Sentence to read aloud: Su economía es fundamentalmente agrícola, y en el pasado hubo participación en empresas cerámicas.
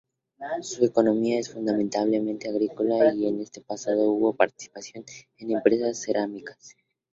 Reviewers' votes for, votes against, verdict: 2, 0, accepted